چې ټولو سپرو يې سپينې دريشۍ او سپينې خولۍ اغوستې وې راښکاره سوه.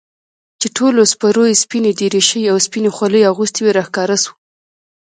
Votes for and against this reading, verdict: 2, 0, accepted